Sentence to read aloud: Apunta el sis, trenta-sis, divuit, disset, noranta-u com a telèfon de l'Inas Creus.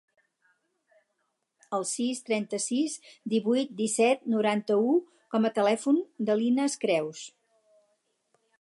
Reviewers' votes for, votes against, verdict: 0, 4, rejected